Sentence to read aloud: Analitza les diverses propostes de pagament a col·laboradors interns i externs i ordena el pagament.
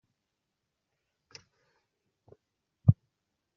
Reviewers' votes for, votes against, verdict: 0, 2, rejected